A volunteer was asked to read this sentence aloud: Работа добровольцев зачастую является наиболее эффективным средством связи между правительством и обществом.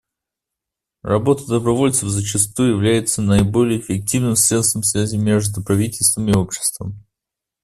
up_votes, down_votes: 3, 0